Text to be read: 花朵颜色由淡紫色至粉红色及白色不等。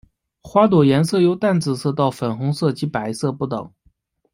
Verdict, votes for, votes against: rejected, 0, 2